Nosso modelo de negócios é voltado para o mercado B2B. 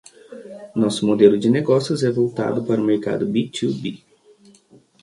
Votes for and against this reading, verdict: 0, 2, rejected